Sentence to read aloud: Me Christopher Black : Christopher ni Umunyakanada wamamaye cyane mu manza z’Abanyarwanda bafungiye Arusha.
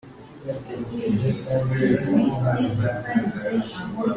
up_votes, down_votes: 0, 2